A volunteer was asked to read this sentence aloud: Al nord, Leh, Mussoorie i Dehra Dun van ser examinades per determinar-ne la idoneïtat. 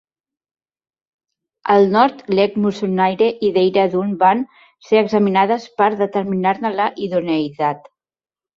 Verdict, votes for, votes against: rejected, 1, 2